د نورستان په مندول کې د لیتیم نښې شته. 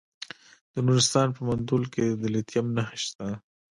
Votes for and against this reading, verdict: 1, 2, rejected